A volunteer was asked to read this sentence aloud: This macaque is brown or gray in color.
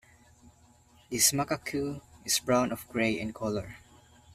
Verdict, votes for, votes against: accepted, 2, 1